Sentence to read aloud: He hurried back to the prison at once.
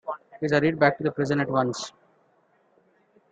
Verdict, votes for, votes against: rejected, 0, 2